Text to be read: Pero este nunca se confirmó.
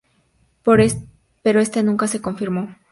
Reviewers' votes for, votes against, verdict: 2, 2, rejected